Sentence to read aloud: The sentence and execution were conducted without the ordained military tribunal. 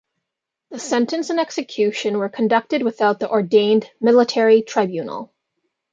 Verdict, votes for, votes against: accepted, 2, 0